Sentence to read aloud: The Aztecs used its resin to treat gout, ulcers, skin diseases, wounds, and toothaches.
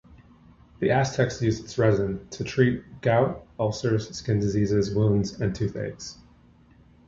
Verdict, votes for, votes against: accepted, 2, 0